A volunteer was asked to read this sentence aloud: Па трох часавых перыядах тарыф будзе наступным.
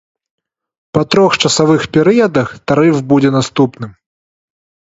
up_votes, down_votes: 2, 0